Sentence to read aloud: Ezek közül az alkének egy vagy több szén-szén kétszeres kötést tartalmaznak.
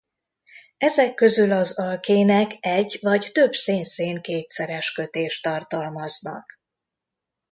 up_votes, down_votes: 2, 0